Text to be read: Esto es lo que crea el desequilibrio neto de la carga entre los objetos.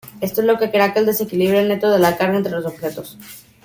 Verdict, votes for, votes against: accepted, 2, 1